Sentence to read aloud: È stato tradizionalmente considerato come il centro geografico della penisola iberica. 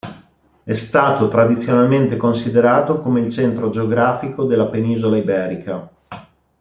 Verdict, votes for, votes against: accepted, 2, 0